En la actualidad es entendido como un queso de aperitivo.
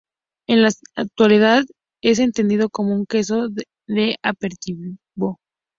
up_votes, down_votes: 0, 2